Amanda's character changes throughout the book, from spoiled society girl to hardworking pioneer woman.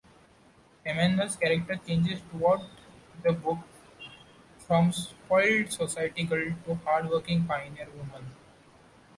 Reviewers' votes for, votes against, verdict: 2, 1, accepted